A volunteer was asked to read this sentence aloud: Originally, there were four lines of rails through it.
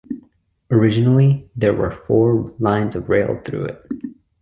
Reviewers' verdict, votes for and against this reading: rejected, 1, 2